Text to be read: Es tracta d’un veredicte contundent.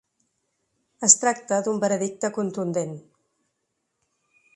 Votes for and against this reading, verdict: 2, 0, accepted